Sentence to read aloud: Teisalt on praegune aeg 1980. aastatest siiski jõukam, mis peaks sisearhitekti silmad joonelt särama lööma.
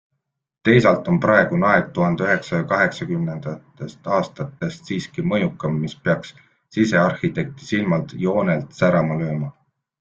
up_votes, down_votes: 0, 2